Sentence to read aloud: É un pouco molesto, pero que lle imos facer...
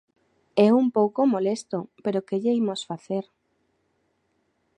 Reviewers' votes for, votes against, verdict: 2, 0, accepted